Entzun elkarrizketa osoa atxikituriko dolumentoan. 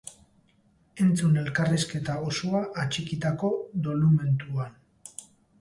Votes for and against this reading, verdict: 0, 2, rejected